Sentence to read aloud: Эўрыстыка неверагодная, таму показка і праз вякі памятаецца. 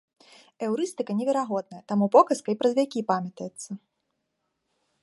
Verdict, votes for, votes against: accepted, 2, 0